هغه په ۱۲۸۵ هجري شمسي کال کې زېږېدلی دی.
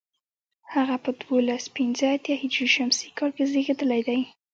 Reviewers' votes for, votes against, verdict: 0, 2, rejected